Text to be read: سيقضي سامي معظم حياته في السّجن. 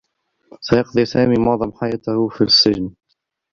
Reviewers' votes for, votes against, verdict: 1, 2, rejected